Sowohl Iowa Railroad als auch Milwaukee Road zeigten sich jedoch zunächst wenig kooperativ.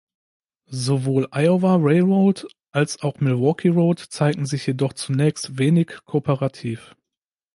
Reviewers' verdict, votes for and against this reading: rejected, 0, 2